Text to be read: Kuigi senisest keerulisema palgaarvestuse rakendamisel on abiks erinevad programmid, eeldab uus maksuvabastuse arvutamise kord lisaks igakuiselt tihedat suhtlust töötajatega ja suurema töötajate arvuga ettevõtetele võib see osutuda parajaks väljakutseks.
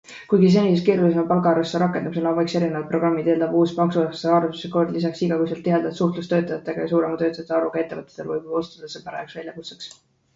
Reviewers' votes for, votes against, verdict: 0, 2, rejected